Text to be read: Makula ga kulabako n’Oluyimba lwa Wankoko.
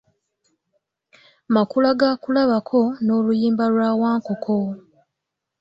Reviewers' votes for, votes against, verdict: 2, 0, accepted